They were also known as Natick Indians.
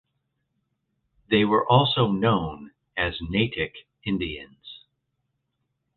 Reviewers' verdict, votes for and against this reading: accepted, 2, 0